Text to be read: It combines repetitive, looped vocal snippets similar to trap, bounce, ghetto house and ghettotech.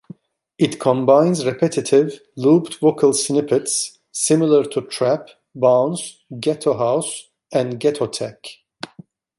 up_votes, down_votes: 2, 0